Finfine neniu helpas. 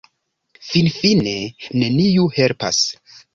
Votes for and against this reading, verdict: 3, 0, accepted